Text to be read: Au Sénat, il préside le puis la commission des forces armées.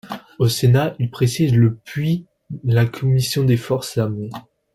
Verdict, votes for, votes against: rejected, 0, 2